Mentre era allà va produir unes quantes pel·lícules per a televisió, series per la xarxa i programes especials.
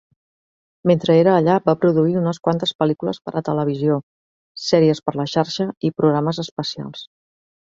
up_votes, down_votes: 3, 0